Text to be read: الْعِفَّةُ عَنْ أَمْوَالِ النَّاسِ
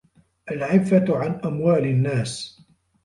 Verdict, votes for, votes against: accepted, 2, 0